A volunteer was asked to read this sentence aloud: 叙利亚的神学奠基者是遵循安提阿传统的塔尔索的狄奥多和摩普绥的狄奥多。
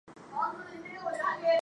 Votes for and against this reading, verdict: 1, 3, rejected